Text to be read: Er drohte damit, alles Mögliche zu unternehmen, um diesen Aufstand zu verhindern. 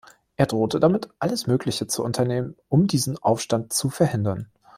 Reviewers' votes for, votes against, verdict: 2, 0, accepted